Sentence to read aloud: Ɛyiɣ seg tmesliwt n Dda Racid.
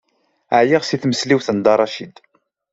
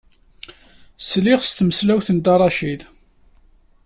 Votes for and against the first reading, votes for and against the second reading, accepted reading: 2, 0, 0, 2, first